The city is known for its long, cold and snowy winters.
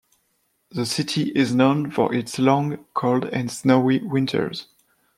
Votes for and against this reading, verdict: 2, 0, accepted